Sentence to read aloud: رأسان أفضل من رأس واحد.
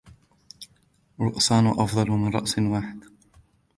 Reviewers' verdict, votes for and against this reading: accepted, 2, 1